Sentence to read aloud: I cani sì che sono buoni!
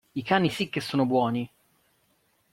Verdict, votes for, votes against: accepted, 2, 0